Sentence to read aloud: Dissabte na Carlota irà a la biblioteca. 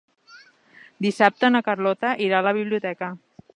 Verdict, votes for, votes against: accepted, 3, 0